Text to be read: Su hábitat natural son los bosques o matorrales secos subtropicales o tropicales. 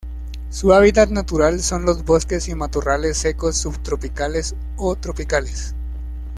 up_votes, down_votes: 1, 2